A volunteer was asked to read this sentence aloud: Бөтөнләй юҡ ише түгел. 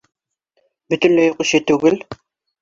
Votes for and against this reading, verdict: 2, 0, accepted